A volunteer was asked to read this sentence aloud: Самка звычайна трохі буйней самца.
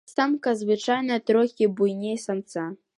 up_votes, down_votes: 2, 0